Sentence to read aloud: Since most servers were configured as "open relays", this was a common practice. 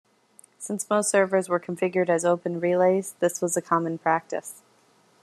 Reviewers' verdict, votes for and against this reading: accepted, 2, 0